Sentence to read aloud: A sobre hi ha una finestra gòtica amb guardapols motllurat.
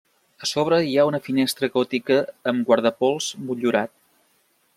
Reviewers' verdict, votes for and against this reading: accepted, 2, 0